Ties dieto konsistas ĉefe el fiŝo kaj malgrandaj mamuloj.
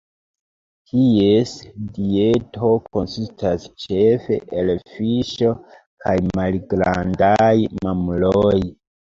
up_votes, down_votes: 0, 2